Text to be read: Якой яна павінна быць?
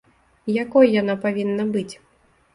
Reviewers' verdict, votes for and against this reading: accepted, 2, 0